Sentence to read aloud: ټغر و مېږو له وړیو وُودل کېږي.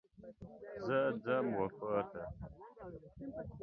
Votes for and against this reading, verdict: 0, 2, rejected